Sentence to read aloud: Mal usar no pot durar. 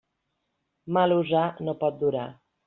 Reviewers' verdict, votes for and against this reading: rejected, 0, 2